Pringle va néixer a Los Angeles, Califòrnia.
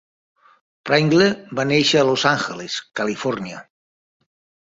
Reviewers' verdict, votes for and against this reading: accepted, 3, 2